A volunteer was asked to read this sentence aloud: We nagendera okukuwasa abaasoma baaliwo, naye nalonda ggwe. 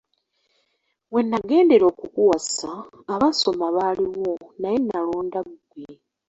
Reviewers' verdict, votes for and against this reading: accepted, 3, 0